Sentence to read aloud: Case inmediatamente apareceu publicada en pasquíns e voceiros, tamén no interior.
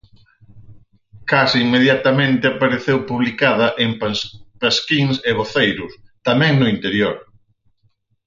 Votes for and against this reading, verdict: 0, 4, rejected